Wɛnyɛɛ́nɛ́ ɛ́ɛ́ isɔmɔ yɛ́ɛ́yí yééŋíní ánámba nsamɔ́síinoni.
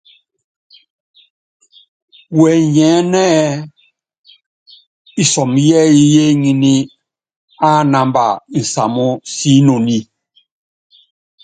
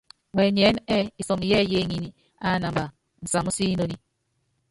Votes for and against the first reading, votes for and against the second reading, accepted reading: 2, 0, 0, 2, first